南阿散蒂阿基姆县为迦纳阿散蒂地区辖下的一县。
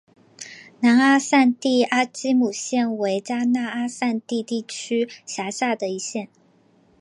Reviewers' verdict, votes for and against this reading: accepted, 3, 0